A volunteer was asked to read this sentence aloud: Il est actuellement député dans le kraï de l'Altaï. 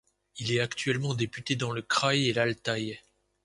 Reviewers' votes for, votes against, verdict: 0, 2, rejected